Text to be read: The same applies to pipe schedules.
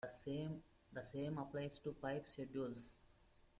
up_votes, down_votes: 1, 2